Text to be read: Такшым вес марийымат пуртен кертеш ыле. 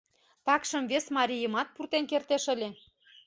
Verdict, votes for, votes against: accepted, 2, 0